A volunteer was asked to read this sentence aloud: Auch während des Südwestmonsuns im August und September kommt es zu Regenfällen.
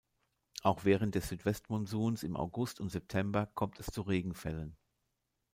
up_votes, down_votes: 2, 0